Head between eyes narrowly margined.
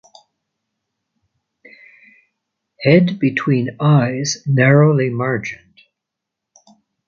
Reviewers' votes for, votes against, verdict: 2, 0, accepted